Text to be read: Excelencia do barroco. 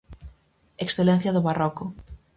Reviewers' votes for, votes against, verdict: 4, 0, accepted